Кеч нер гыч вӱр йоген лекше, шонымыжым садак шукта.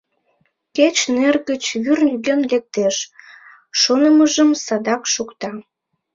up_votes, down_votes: 1, 2